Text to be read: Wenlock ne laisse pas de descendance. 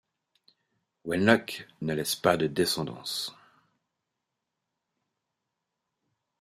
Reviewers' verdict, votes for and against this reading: accepted, 2, 0